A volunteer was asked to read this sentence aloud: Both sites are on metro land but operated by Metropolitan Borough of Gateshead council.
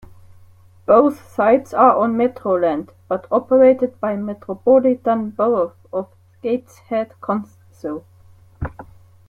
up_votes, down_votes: 0, 2